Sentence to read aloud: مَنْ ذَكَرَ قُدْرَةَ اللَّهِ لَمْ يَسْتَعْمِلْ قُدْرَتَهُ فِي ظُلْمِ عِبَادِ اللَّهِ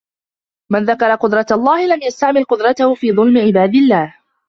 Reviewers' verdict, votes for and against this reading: accepted, 2, 0